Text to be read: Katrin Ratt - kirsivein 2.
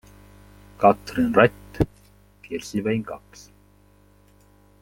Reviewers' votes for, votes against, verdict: 0, 2, rejected